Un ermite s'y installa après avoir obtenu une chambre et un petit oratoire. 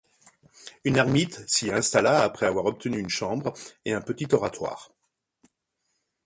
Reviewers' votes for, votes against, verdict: 0, 2, rejected